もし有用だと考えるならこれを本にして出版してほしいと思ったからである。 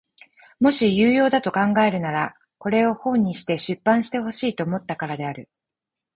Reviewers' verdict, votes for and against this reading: rejected, 2, 4